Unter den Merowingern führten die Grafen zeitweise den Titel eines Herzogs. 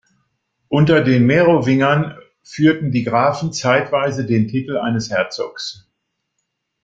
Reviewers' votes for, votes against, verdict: 2, 0, accepted